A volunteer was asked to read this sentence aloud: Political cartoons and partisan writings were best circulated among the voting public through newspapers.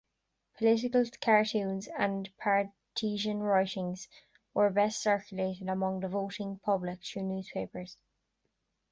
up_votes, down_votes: 0, 2